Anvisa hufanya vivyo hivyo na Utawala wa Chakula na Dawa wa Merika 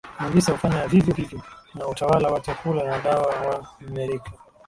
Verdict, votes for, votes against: rejected, 0, 2